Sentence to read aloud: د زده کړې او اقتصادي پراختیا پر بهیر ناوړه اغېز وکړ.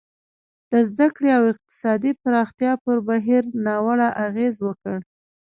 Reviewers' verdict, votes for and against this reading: accepted, 2, 1